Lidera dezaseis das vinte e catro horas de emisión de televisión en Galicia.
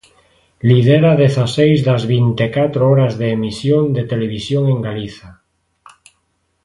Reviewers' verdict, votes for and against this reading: rejected, 1, 2